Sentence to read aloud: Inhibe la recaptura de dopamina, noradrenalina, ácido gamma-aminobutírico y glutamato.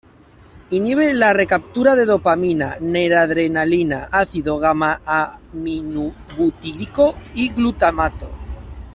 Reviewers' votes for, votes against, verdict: 0, 2, rejected